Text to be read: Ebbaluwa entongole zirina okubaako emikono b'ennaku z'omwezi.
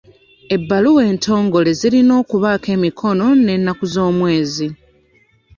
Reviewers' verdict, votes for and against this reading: rejected, 1, 2